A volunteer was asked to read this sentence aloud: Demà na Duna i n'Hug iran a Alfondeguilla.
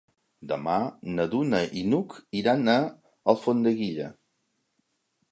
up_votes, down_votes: 3, 0